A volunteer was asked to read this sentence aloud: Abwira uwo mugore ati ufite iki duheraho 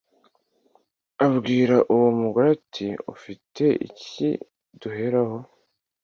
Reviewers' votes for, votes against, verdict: 2, 0, accepted